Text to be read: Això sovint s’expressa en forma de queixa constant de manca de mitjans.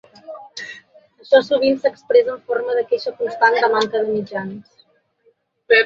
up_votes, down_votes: 0, 2